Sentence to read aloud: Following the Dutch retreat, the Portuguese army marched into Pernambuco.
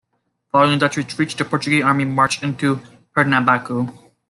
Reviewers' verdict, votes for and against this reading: rejected, 1, 2